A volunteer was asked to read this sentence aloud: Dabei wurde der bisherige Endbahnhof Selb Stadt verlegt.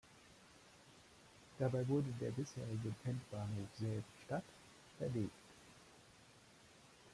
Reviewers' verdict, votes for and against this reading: rejected, 1, 2